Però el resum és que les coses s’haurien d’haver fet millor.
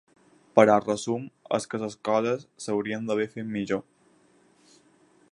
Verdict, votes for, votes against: accepted, 4, 0